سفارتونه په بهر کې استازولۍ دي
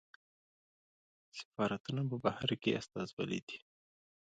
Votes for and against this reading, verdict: 1, 2, rejected